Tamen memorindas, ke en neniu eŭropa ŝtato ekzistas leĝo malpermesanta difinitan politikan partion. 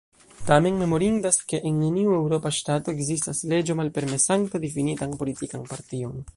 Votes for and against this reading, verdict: 2, 0, accepted